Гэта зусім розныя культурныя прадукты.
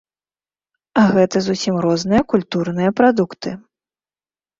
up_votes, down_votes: 1, 2